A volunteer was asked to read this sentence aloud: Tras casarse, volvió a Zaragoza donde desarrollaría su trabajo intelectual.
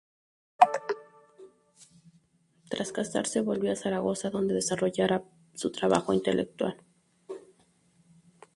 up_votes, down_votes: 2, 2